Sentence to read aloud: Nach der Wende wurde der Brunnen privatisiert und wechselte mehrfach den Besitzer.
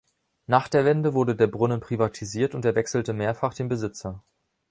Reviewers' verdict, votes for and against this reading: rejected, 0, 2